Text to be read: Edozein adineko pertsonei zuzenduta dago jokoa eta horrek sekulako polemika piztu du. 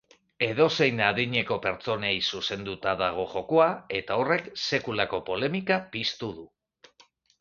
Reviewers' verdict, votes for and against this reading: accepted, 2, 0